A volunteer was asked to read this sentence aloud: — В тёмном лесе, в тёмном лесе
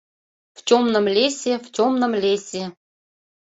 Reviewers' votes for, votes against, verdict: 2, 0, accepted